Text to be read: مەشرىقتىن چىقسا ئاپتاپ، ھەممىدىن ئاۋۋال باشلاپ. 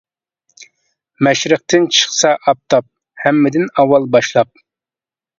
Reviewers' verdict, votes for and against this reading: accepted, 2, 0